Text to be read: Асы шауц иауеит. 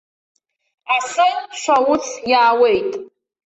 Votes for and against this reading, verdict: 1, 2, rejected